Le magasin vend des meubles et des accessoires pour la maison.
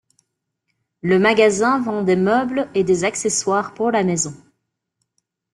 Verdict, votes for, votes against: rejected, 1, 2